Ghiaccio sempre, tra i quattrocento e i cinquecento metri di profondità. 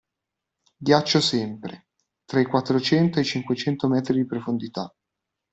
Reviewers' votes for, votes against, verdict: 2, 0, accepted